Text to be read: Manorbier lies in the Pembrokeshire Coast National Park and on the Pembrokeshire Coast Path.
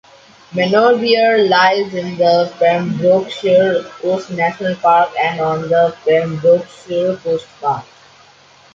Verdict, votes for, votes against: accepted, 2, 0